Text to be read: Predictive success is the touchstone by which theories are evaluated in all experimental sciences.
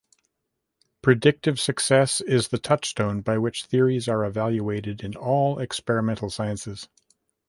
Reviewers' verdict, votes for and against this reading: accepted, 2, 1